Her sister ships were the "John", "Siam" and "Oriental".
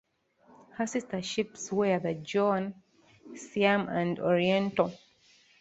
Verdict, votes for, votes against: accepted, 2, 0